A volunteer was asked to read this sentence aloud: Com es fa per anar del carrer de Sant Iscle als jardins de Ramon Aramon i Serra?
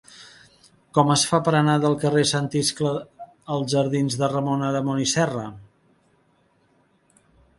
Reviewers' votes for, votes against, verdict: 1, 2, rejected